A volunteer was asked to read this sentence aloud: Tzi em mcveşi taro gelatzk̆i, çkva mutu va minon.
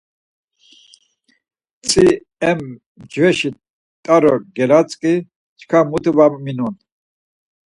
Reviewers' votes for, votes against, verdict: 4, 2, accepted